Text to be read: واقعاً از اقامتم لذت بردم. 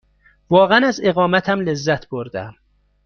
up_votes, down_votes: 2, 0